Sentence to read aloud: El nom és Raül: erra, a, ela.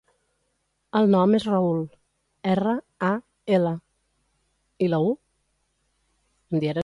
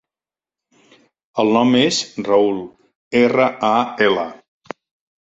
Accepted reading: second